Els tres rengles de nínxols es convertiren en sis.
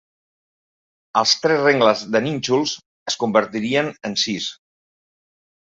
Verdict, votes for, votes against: rejected, 0, 2